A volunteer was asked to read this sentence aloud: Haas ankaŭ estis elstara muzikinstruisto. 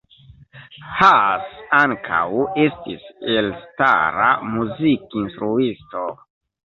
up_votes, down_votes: 2, 0